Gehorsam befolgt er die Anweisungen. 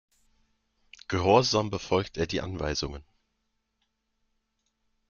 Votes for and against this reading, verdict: 2, 0, accepted